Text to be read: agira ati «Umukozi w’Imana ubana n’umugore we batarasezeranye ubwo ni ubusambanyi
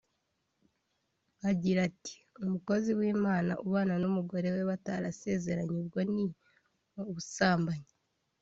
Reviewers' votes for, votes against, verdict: 2, 0, accepted